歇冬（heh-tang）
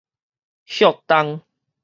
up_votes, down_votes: 2, 2